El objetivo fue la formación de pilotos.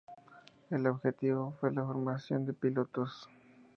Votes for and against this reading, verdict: 2, 0, accepted